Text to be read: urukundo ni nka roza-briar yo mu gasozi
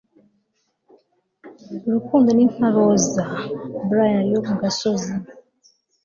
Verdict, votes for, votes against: accepted, 2, 0